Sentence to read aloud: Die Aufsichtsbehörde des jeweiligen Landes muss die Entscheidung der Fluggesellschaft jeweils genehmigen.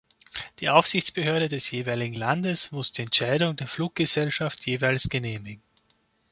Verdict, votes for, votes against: accepted, 2, 0